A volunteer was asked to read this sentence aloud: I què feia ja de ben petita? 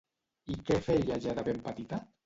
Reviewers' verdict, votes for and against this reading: accepted, 2, 0